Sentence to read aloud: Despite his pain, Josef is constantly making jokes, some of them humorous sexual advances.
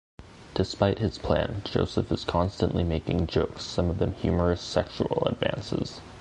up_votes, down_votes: 1, 2